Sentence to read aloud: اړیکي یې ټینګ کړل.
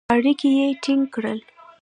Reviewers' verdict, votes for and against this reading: accepted, 2, 0